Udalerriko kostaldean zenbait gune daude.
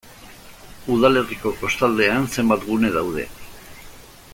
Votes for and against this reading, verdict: 1, 2, rejected